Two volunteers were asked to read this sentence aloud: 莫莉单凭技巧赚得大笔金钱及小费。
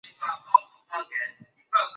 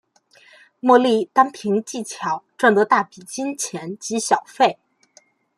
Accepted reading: second